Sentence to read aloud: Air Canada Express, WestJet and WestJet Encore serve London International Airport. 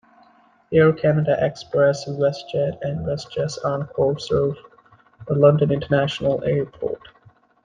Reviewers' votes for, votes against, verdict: 1, 2, rejected